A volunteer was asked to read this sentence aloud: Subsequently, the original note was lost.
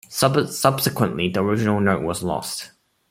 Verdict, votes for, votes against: accepted, 2, 1